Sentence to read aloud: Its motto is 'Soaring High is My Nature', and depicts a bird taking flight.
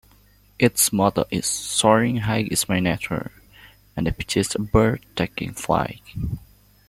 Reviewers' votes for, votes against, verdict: 0, 2, rejected